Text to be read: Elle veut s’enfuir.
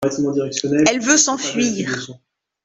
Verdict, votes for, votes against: rejected, 0, 2